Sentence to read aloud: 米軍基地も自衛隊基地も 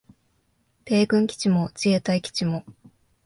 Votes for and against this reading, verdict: 2, 0, accepted